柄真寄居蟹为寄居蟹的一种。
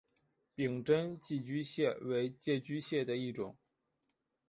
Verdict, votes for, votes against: accepted, 3, 1